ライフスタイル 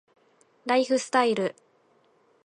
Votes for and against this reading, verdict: 1, 2, rejected